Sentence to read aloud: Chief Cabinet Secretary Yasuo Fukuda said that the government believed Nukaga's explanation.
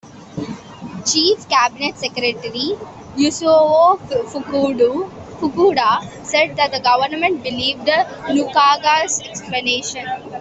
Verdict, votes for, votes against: rejected, 0, 2